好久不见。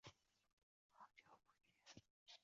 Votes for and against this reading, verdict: 0, 2, rejected